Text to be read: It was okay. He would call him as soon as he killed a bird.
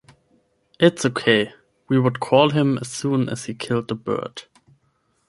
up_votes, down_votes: 0, 10